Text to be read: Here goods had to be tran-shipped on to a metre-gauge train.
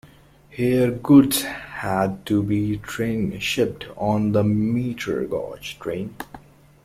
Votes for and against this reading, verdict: 2, 1, accepted